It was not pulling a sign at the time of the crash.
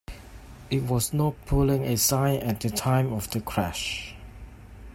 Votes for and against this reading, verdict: 2, 0, accepted